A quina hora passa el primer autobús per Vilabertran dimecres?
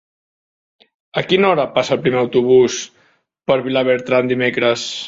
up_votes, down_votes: 2, 0